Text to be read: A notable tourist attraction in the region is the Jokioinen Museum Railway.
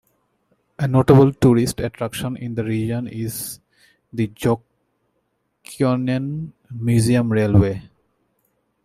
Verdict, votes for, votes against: rejected, 0, 2